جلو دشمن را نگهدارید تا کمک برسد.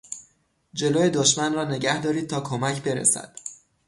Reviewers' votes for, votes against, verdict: 0, 3, rejected